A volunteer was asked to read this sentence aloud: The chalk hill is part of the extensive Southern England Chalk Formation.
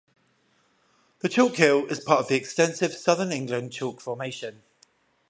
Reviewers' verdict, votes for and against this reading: rejected, 0, 5